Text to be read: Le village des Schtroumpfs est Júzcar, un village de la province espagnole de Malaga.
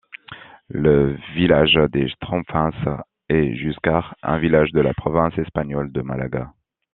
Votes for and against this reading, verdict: 1, 2, rejected